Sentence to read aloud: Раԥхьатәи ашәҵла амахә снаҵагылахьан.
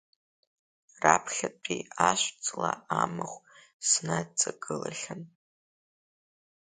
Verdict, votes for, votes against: rejected, 1, 2